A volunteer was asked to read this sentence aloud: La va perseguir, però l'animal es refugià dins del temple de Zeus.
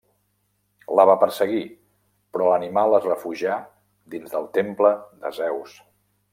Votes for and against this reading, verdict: 3, 0, accepted